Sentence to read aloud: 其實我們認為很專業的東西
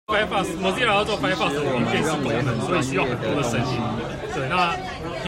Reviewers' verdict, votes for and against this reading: rejected, 0, 2